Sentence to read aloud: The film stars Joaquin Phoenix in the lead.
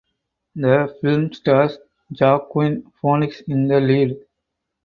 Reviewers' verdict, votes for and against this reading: rejected, 2, 4